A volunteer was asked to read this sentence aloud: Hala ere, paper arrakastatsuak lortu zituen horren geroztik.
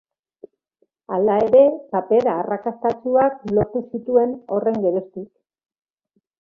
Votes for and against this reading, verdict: 2, 0, accepted